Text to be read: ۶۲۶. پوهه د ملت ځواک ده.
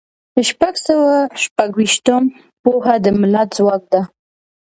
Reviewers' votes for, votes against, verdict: 0, 2, rejected